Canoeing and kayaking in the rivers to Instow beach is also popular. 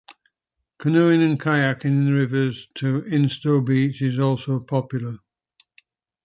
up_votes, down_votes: 2, 1